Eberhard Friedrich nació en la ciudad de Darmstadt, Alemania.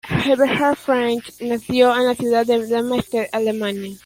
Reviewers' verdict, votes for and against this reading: rejected, 0, 2